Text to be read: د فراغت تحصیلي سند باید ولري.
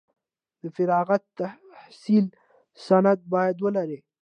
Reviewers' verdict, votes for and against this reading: accepted, 2, 0